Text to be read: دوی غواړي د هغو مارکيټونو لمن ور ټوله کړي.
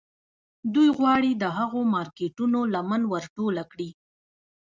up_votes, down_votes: 1, 2